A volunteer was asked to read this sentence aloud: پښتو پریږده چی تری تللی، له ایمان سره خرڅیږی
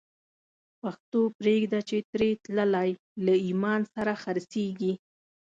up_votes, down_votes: 2, 0